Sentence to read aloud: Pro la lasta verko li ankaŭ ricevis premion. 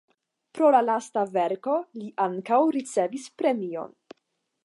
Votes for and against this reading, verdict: 5, 0, accepted